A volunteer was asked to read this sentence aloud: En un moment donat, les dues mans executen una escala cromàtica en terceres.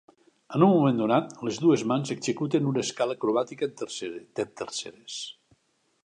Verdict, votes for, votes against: rejected, 0, 2